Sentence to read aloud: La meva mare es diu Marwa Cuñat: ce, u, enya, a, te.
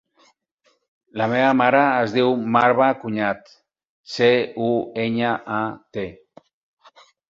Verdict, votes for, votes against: accepted, 4, 0